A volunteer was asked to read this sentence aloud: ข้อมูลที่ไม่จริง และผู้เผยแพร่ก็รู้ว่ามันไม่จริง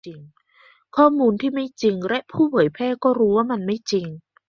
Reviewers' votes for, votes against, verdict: 2, 0, accepted